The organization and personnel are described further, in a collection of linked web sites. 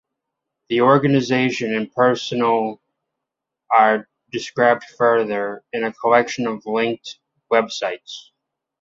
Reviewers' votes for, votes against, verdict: 2, 0, accepted